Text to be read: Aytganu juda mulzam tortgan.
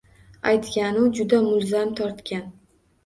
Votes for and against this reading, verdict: 2, 0, accepted